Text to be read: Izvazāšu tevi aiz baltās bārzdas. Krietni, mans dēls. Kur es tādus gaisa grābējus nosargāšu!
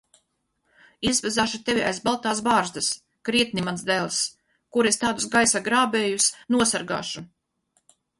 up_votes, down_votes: 0, 2